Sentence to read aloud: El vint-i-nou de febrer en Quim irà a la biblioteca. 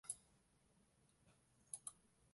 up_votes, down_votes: 0, 2